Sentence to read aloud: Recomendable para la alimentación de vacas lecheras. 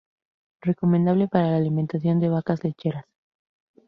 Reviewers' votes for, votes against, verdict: 2, 0, accepted